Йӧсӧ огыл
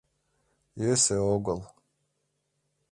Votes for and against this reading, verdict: 2, 0, accepted